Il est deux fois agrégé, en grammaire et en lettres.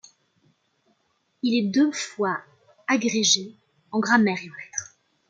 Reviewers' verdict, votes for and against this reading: rejected, 0, 2